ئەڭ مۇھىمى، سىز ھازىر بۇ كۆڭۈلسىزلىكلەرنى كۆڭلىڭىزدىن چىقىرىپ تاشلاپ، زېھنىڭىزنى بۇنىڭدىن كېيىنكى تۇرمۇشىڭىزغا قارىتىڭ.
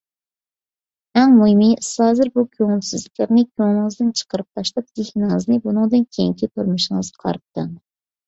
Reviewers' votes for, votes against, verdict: 1, 2, rejected